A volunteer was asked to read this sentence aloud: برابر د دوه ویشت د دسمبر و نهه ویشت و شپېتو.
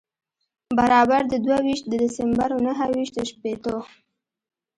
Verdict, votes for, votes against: accepted, 2, 0